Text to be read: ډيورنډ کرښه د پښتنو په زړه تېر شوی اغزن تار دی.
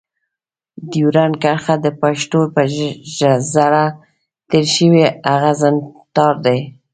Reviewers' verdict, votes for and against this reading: rejected, 1, 2